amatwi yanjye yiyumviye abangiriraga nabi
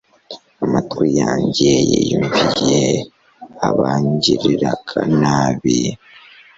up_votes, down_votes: 2, 0